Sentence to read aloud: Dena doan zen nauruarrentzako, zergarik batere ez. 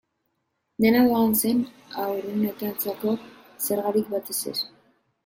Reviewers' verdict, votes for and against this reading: rejected, 0, 2